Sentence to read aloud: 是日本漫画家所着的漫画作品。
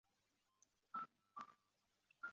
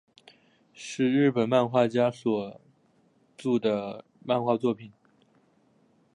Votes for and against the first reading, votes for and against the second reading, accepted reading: 0, 3, 5, 0, second